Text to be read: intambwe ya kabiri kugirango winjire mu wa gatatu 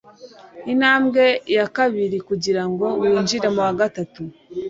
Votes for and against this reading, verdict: 2, 0, accepted